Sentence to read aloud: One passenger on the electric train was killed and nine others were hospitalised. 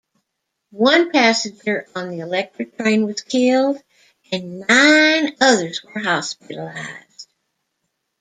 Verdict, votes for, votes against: rejected, 0, 2